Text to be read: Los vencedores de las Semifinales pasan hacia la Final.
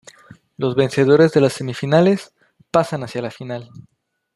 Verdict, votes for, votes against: accepted, 2, 0